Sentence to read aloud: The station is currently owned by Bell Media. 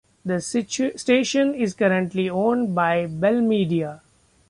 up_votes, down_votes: 1, 3